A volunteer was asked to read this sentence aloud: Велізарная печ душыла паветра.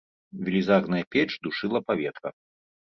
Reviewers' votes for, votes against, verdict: 2, 0, accepted